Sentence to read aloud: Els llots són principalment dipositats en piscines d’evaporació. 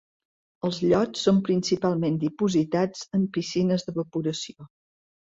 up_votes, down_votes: 2, 0